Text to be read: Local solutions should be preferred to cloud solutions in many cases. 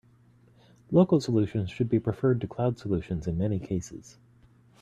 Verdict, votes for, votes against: accepted, 3, 0